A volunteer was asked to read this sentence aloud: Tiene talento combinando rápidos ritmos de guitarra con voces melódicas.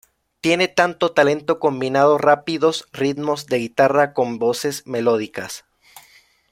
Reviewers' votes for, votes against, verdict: 0, 2, rejected